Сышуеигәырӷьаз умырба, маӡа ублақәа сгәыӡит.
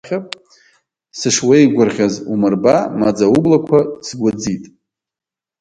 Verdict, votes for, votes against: rejected, 1, 2